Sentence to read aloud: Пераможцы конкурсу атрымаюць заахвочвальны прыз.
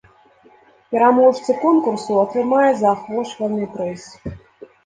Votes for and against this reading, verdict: 2, 0, accepted